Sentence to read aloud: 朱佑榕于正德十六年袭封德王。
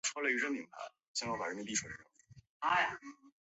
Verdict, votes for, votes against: rejected, 0, 3